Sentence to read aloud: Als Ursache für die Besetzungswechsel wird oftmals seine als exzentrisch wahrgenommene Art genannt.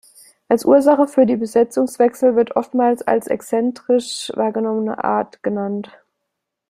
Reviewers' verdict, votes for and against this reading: rejected, 0, 2